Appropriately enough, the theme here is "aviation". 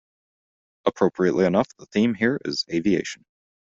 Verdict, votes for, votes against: accepted, 2, 0